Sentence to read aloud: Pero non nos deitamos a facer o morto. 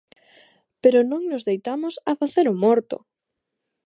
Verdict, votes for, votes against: accepted, 2, 0